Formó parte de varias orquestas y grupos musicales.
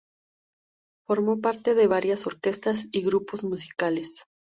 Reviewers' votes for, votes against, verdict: 2, 0, accepted